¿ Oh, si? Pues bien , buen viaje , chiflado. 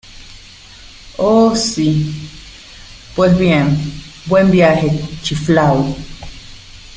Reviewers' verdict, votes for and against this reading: rejected, 1, 2